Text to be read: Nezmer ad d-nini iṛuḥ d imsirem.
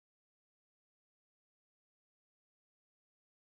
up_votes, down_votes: 0, 2